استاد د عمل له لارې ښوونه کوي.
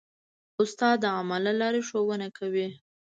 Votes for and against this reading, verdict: 1, 2, rejected